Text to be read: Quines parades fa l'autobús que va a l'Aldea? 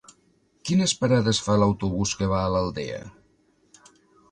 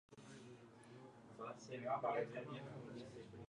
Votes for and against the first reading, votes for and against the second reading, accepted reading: 2, 0, 0, 3, first